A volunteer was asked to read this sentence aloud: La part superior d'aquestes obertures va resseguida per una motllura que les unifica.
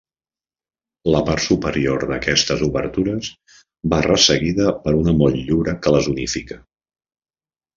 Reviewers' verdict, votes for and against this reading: accepted, 4, 0